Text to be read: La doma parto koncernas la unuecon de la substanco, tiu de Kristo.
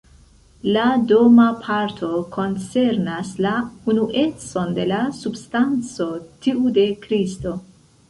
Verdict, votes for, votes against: rejected, 0, 2